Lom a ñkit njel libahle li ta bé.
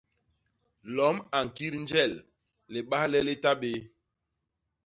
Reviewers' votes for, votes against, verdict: 2, 0, accepted